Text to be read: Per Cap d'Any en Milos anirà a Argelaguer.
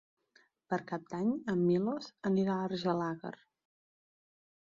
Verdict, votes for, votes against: rejected, 0, 2